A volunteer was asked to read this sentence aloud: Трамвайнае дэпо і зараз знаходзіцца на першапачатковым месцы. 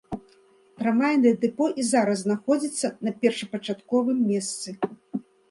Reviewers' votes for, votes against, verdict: 2, 0, accepted